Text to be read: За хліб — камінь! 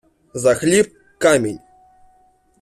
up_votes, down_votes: 2, 1